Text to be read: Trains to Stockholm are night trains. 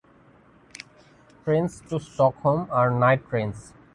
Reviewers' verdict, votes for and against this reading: accepted, 2, 0